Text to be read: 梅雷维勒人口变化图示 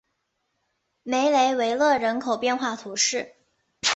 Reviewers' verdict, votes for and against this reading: accepted, 2, 0